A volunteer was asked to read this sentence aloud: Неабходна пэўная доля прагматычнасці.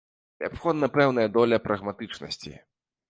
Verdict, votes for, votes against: accepted, 2, 0